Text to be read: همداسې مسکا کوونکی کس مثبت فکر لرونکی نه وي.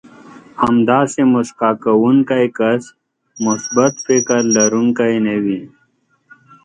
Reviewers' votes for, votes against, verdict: 2, 0, accepted